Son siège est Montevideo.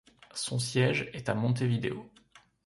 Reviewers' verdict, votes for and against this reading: rejected, 1, 2